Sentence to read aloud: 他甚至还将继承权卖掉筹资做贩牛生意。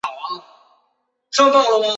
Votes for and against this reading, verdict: 1, 2, rejected